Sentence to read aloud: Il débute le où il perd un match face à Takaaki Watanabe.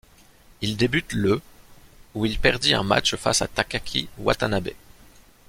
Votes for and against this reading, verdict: 1, 2, rejected